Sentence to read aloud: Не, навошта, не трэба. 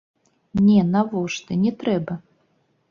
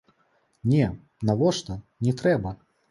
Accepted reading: second